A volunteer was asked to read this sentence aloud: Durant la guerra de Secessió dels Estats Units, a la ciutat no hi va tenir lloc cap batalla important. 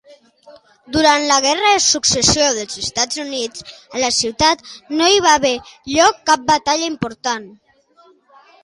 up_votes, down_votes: 0, 2